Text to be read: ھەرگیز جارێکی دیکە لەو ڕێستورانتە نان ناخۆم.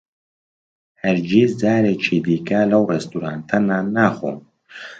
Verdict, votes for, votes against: accepted, 2, 0